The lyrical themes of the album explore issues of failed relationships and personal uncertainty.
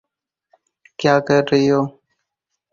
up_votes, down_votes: 0, 4